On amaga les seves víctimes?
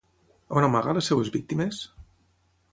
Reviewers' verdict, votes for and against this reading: rejected, 3, 3